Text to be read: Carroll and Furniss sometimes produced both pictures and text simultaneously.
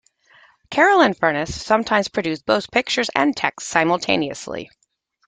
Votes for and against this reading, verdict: 2, 0, accepted